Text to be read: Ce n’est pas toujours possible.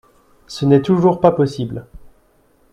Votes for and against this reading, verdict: 1, 2, rejected